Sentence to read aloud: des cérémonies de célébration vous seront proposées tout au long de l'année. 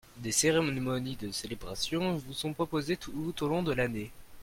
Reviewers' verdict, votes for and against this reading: rejected, 0, 2